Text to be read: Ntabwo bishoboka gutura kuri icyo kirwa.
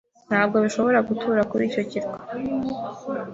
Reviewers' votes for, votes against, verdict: 1, 2, rejected